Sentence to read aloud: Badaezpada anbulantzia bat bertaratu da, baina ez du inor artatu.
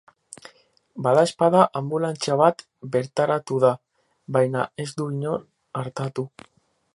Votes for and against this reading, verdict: 2, 2, rejected